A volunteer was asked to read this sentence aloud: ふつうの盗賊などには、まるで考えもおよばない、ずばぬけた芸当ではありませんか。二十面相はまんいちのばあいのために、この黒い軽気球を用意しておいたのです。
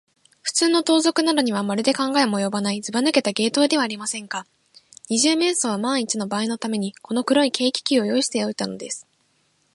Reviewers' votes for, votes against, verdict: 14, 1, accepted